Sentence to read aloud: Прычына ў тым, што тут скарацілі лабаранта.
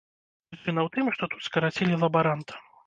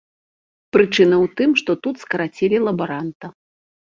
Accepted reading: second